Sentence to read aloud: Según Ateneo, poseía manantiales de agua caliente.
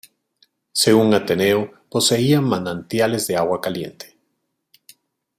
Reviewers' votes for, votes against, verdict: 2, 0, accepted